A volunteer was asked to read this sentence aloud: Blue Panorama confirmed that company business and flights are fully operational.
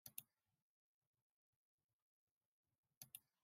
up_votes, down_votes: 0, 2